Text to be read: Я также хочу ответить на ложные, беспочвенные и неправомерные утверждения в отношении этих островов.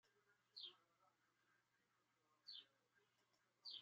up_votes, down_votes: 0, 2